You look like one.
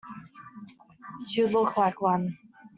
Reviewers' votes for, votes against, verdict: 2, 0, accepted